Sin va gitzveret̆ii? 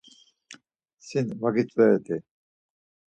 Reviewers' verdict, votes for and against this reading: rejected, 0, 4